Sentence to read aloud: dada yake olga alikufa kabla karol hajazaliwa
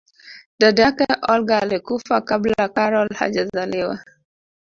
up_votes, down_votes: 2, 1